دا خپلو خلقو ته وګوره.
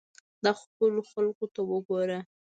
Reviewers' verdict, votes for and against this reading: accepted, 2, 0